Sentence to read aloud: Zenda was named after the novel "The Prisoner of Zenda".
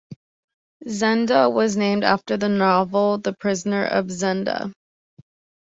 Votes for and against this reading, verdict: 2, 0, accepted